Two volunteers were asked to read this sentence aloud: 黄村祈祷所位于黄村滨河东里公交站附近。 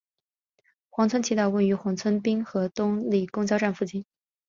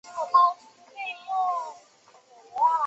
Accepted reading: first